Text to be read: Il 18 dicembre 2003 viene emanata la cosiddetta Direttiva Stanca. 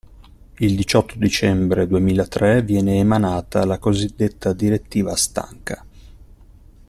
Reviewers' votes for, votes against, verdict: 0, 2, rejected